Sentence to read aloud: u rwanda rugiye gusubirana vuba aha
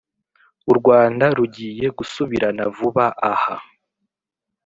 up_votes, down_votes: 2, 0